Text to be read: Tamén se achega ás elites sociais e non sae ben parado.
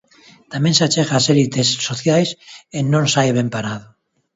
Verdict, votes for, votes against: rejected, 0, 2